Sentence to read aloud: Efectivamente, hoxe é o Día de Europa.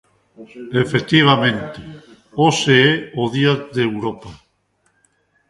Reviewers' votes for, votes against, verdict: 0, 2, rejected